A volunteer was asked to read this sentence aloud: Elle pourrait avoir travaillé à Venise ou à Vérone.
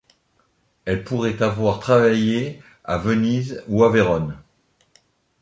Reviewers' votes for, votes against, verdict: 2, 0, accepted